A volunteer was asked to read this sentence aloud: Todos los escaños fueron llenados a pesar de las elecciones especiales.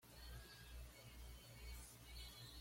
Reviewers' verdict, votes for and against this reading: rejected, 1, 2